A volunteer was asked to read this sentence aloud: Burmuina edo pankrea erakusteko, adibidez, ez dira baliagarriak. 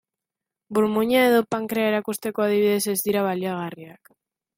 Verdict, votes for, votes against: accepted, 2, 0